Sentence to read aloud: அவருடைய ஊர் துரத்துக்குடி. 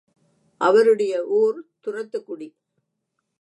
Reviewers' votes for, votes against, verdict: 2, 0, accepted